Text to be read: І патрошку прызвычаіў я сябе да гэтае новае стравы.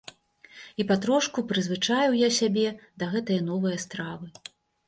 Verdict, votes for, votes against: accepted, 2, 0